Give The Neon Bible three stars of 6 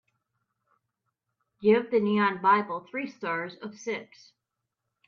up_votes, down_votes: 0, 2